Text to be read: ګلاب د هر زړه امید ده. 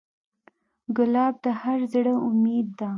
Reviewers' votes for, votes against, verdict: 2, 0, accepted